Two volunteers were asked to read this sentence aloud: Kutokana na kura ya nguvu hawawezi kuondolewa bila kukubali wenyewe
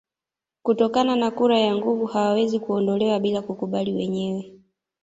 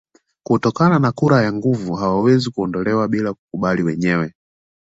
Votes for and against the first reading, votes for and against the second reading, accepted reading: 1, 2, 2, 0, second